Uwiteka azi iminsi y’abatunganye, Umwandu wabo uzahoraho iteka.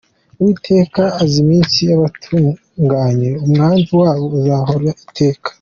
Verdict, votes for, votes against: accepted, 2, 1